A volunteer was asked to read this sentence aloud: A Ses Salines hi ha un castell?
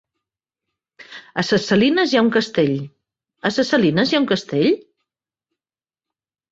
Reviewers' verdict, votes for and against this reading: rejected, 0, 3